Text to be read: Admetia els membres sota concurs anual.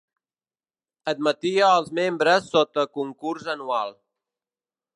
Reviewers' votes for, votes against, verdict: 2, 0, accepted